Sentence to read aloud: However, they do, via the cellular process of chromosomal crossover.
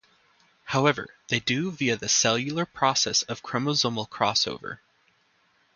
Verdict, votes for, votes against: accepted, 2, 0